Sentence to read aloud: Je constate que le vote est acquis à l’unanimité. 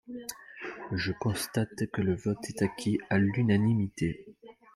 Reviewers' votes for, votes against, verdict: 2, 1, accepted